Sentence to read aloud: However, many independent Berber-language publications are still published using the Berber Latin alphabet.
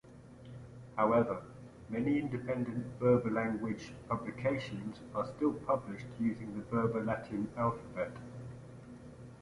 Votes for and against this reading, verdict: 2, 1, accepted